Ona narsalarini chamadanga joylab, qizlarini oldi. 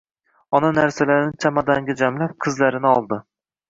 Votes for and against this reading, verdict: 1, 2, rejected